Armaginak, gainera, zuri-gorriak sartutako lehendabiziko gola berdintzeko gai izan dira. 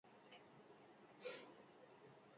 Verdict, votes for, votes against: rejected, 0, 4